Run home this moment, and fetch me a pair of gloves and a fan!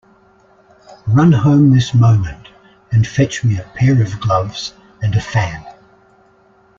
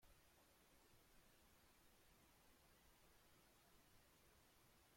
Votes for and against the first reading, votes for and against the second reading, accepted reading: 2, 0, 0, 2, first